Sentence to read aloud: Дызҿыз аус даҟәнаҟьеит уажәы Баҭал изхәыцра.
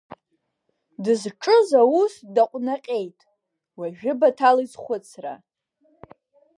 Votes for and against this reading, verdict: 0, 2, rejected